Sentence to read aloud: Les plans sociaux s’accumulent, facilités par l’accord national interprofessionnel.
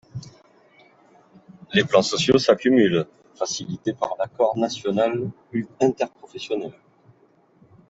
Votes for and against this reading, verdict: 0, 4, rejected